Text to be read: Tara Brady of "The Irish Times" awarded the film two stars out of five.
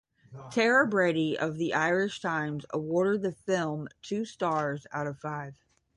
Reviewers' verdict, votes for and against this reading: accepted, 10, 0